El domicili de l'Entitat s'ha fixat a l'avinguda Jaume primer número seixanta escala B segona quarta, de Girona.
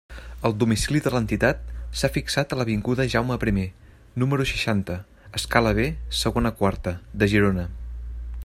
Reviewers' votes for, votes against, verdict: 2, 0, accepted